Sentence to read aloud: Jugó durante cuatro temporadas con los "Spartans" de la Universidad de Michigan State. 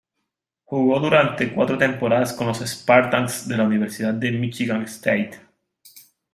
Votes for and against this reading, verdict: 2, 0, accepted